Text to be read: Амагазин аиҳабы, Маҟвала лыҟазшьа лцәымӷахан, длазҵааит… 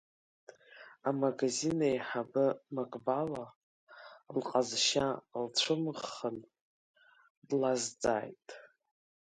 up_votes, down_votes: 2, 1